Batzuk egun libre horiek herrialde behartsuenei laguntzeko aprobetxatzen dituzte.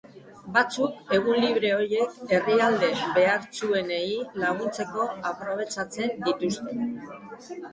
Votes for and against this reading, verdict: 1, 2, rejected